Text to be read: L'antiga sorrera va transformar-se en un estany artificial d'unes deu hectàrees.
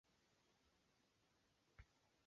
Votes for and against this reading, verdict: 2, 0, accepted